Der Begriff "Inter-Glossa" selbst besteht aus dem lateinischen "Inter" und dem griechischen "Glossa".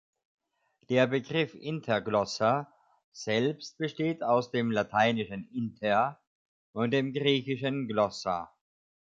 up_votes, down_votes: 2, 0